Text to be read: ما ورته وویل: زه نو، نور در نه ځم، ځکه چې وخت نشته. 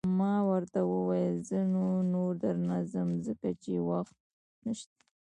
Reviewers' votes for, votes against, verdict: 0, 2, rejected